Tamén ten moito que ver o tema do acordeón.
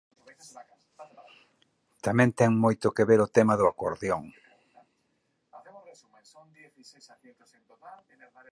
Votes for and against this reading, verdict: 2, 2, rejected